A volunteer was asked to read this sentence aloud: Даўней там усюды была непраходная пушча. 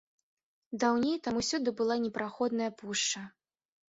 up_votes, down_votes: 2, 0